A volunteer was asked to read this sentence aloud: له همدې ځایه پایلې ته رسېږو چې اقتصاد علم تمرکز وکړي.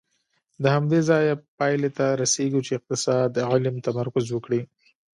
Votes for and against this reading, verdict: 2, 1, accepted